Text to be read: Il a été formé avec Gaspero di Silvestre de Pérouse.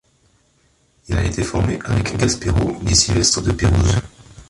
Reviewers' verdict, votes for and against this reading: rejected, 0, 2